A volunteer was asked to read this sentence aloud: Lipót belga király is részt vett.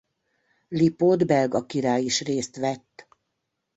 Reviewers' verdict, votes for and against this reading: accepted, 2, 0